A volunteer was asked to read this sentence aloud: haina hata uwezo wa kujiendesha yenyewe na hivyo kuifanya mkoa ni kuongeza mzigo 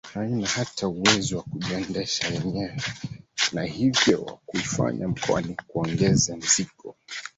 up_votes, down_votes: 0, 2